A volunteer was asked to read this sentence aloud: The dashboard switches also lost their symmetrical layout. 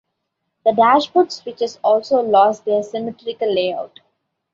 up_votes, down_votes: 2, 1